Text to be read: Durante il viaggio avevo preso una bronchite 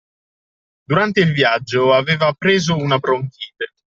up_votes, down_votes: 0, 2